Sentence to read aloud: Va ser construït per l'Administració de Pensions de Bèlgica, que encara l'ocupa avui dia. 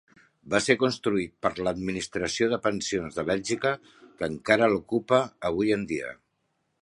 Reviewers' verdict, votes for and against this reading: rejected, 0, 2